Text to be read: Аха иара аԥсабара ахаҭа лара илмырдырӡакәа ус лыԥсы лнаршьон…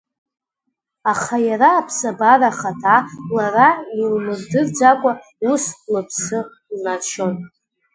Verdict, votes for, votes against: rejected, 1, 2